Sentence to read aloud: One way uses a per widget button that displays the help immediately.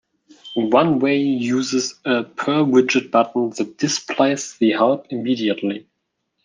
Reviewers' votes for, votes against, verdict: 3, 1, accepted